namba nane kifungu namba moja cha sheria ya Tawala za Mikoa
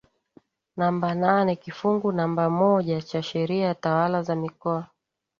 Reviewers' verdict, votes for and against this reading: rejected, 1, 2